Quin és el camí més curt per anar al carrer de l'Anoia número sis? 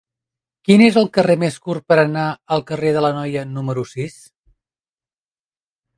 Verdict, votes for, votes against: accepted, 2, 0